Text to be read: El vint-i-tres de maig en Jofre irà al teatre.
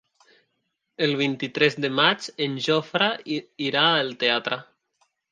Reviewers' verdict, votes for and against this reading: rejected, 0, 2